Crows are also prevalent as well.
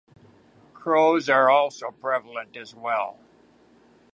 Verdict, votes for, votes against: accepted, 2, 0